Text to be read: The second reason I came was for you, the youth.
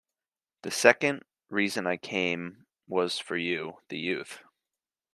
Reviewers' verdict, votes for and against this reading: accepted, 2, 0